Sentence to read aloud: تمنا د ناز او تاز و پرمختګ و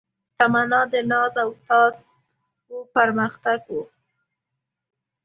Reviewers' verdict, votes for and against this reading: accepted, 2, 0